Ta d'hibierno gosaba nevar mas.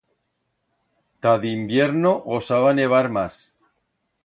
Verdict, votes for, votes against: rejected, 1, 2